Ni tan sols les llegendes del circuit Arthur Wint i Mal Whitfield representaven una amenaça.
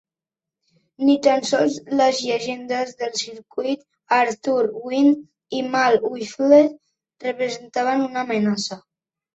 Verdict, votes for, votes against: rejected, 0, 2